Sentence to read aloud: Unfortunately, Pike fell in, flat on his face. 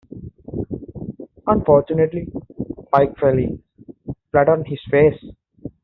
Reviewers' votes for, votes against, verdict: 2, 0, accepted